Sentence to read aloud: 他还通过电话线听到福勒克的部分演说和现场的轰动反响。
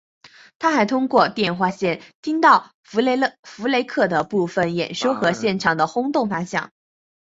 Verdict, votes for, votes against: accepted, 2, 0